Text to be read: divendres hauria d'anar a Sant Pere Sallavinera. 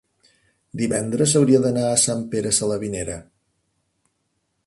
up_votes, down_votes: 1, 2